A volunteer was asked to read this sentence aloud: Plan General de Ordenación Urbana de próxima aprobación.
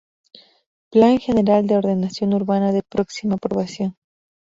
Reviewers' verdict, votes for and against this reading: accepted, 4, 0